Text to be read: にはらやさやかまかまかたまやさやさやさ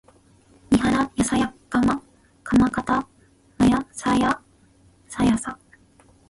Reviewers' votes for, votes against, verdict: 0, 2, rejected